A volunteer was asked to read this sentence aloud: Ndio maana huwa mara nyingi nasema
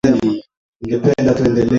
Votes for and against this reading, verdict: 0, 2, rejected